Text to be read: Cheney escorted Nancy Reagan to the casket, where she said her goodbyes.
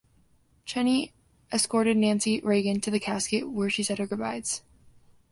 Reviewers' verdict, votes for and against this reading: accepted, 2, 0